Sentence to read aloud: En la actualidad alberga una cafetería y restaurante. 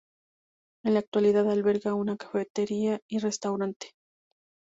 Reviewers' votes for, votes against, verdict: 2, 0, accepted